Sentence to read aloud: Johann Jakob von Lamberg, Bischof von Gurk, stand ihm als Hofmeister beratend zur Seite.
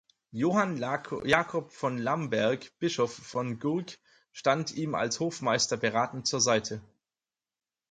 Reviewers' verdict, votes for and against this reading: rejected, 0, 4